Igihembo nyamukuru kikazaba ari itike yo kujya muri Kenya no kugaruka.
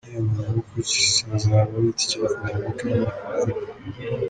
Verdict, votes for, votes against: rejected, 0, 2